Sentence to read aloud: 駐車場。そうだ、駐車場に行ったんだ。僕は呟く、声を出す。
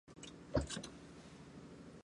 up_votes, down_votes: 0, 2